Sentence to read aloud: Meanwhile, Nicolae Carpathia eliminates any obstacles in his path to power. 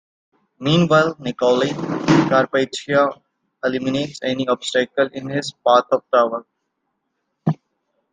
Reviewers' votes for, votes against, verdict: 0, 2, rejected